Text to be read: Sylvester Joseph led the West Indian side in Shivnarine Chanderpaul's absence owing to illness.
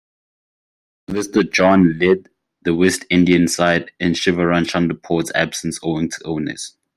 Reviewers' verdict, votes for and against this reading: rejected, 0, 2